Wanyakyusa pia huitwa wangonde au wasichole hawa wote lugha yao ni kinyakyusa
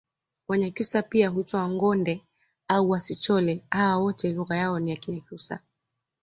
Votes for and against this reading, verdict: 2, 0, accepted